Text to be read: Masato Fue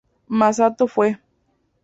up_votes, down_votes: 2, 0